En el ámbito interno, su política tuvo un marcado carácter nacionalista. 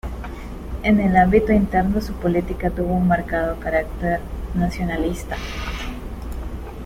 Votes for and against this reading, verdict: 2, 1, accepted